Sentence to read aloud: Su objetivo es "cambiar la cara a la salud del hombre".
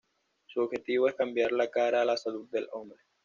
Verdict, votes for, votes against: accepted, 2, 0